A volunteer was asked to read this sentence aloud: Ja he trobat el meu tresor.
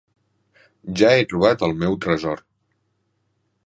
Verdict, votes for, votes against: accepted, 4, 0